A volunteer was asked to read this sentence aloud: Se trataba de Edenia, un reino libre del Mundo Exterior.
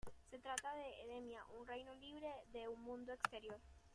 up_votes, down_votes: 0, 2